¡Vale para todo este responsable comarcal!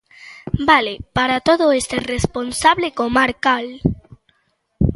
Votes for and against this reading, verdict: 2, 0, accepted